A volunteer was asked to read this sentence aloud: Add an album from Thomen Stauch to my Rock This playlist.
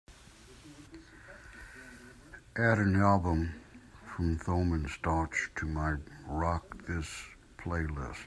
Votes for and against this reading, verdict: 2, 1, accepted